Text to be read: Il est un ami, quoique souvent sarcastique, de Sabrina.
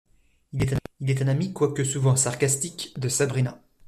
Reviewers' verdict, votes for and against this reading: rejected, 0, 2